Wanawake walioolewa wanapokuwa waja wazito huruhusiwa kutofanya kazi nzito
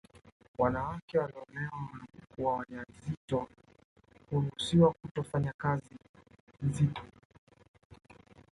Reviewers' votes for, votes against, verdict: 2, 1, accepted